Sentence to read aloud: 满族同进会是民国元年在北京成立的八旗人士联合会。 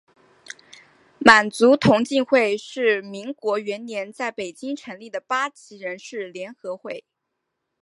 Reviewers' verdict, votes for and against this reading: accepted, 2, 0